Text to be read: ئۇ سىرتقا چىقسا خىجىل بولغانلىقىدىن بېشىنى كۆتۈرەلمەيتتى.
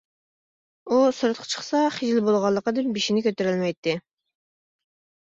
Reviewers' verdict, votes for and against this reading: accepted, 2, 0